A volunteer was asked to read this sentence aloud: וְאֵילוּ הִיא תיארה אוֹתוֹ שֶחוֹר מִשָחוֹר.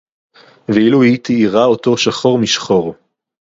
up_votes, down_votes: 2, 2